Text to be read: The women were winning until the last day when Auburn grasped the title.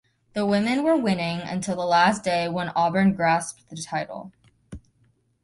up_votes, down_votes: 2, 0